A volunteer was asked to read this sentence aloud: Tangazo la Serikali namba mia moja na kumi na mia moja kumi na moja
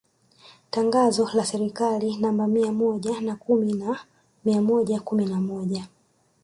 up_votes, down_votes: 1, 2